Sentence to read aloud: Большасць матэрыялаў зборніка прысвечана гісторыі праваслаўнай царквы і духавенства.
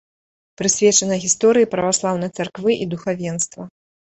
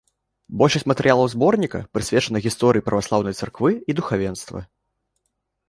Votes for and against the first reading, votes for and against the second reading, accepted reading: 0, 2, 3, 0, second